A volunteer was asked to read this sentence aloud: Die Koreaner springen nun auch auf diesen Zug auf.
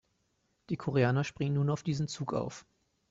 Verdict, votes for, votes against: rejected, 2, 3